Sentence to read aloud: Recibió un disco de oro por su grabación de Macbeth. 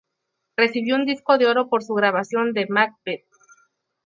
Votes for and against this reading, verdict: 0, 2, rejected